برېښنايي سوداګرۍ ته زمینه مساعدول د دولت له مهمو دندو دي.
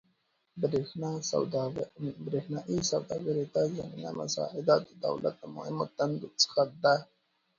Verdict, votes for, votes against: rejected, 0, 3